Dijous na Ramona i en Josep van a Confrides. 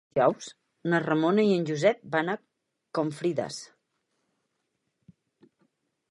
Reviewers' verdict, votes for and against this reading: rejected, 2, 4